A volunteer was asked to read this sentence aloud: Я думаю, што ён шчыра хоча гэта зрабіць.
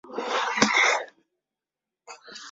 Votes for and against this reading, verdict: 0, 2, rejected